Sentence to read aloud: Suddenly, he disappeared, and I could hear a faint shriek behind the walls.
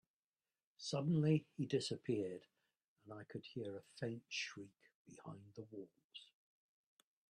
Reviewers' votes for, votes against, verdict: 2, 0, accepted